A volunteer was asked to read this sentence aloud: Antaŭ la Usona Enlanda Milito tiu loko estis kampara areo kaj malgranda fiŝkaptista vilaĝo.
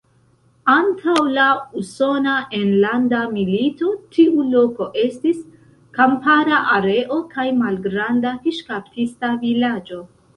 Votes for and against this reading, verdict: 2, 0, accepted